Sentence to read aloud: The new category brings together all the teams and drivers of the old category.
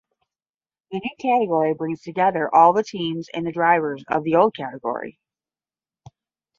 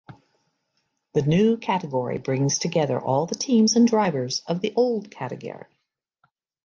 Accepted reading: second